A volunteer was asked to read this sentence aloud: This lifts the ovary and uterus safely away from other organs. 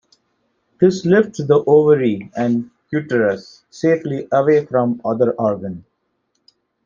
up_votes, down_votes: 0, 2